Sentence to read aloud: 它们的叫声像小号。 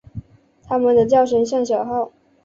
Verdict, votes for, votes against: accepted, 2, 0